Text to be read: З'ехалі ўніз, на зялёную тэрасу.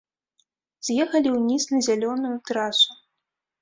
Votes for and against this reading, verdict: 1, 2, rejected